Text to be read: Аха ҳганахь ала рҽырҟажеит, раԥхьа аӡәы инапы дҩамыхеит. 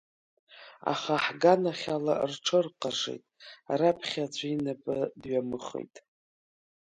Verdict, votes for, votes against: accepted, 2, 0